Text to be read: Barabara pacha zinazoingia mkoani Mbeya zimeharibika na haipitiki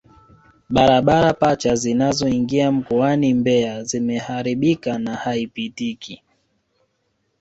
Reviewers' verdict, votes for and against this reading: rejected, 1, 2